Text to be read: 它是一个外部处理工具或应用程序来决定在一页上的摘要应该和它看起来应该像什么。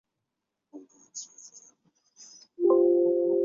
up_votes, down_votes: 0, 3